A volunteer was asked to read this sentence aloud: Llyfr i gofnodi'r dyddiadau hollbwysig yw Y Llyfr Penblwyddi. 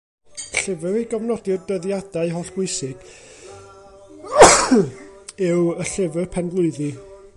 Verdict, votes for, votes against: rejected, 0, 2